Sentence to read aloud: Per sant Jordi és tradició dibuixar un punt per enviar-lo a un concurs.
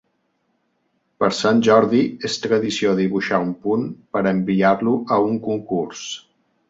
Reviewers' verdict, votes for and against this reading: accepted, 3, 0